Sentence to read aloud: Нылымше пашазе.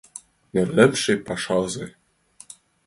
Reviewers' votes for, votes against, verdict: 2, 0, accepted